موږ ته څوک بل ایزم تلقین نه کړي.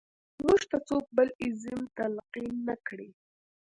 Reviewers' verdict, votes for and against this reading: accepted, 2, 0